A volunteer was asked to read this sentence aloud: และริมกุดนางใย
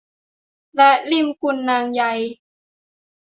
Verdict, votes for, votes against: rejected, 0, 2